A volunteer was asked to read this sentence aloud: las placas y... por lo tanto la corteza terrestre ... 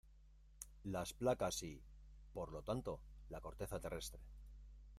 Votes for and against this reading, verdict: 1, 2, rejected